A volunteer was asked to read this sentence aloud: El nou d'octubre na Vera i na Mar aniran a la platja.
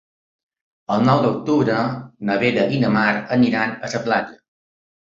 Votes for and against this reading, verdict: 1, 2, rejected